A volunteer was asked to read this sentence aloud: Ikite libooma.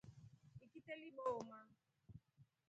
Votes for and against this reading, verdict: 0, 2, rejected